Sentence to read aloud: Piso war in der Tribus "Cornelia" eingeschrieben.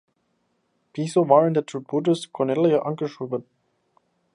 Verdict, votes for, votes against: rejected, 0, 2